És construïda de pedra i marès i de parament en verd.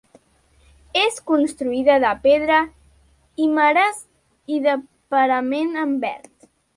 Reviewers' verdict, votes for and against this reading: accepted, 2, 1